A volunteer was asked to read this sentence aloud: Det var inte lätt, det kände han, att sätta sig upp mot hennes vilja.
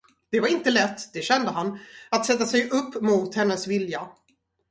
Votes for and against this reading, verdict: 0, 2, rejected